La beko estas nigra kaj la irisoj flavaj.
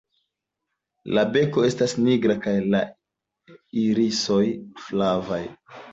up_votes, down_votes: 2, 0